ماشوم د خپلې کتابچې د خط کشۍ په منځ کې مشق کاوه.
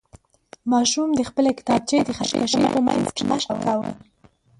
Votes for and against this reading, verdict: 0, 3, rejected